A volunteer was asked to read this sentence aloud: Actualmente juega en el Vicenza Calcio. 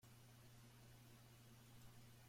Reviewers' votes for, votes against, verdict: 0, 2, rejected